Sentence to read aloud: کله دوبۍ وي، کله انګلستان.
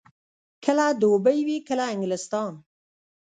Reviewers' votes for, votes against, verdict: 1, 2, rejected